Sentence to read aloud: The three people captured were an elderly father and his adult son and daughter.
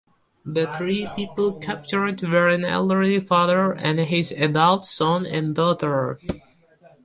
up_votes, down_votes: 2, 0